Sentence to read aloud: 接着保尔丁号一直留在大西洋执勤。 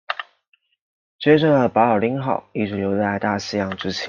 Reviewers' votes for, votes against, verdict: 1, 2, rejected